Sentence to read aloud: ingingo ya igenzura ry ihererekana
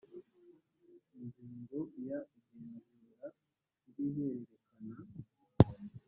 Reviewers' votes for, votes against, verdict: 1, 2, rejected